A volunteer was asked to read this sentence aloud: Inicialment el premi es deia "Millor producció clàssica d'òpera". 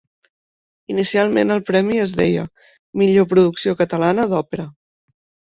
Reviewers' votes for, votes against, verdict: 0, 2, rejected